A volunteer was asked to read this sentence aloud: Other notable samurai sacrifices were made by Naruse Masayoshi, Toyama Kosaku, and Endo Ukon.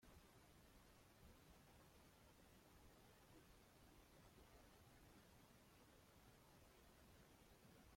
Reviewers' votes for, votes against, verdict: 1, 2, rejected